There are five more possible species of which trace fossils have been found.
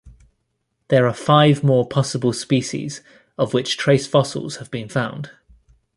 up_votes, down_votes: 2, 0